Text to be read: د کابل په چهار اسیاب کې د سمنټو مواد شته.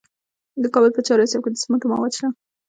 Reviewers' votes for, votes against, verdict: 2, 0, accepted